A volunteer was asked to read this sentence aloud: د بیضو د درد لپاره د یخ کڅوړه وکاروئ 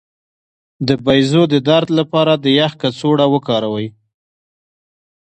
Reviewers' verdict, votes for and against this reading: rejected, 0, 2